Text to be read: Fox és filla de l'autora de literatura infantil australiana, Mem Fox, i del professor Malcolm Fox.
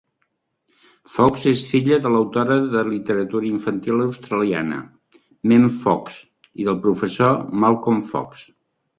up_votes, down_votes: 3, 0